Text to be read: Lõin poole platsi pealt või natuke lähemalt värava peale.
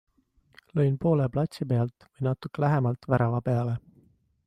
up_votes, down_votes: 2, 0